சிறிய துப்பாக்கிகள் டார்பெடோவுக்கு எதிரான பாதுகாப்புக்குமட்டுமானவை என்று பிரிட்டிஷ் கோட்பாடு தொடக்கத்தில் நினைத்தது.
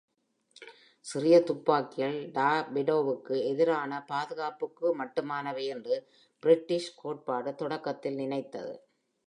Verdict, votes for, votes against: accepted, 2, 0